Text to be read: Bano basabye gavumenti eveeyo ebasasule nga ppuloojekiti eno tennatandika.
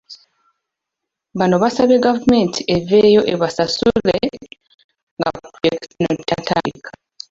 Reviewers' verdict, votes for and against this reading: rejected, 0, 2